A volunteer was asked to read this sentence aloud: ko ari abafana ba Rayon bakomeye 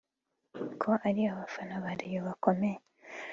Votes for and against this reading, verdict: 3, 1, accepted